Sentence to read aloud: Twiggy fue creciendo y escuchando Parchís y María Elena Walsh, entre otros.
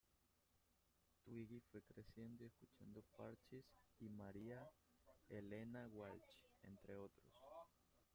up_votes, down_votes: 0, 2